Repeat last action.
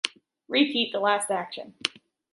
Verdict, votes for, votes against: rejected, 1, 2